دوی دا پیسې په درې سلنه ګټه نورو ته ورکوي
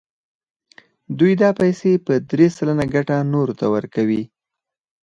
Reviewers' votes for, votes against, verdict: 4, 2, accepted